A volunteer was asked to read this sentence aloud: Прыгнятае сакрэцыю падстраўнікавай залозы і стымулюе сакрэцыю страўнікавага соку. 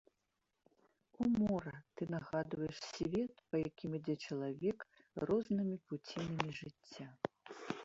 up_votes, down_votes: 0, 2